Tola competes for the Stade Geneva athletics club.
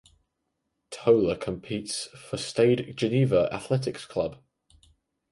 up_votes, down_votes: 0, 4